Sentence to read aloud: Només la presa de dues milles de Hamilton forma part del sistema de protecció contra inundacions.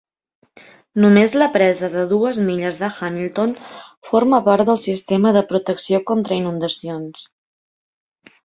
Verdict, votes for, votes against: accepted, 3, 0